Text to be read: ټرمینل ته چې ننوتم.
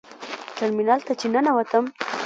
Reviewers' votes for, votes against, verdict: 0, 2, rejected